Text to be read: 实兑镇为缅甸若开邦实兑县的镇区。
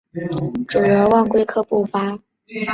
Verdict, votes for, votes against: rejected, 0, 2